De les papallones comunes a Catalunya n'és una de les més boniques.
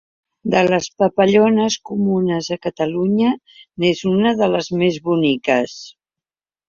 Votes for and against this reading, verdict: 2, 0, accepted